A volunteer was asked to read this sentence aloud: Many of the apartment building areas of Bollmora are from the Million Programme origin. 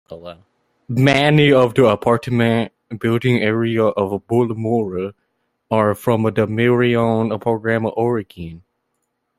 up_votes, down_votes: 0, 2